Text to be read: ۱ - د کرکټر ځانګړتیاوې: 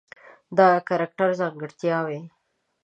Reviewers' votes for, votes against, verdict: 0, 2, rejected